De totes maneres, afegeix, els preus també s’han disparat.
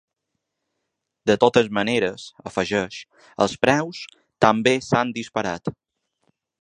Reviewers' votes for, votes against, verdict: 2, 0, accepted